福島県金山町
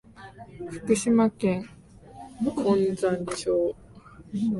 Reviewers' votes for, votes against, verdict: 0, 2, rejected